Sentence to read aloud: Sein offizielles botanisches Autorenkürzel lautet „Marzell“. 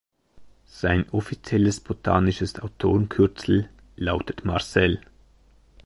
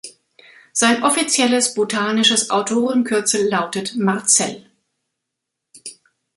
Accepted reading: second